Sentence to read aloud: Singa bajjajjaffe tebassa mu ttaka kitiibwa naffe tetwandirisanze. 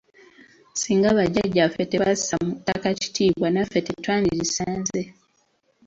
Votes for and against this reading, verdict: 2, 0, accepted